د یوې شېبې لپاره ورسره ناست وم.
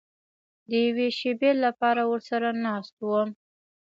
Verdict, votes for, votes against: accepted, 2, 0